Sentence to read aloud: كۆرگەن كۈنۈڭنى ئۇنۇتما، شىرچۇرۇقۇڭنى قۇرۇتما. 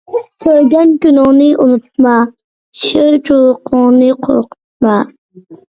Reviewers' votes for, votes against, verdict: 1, 2, rejected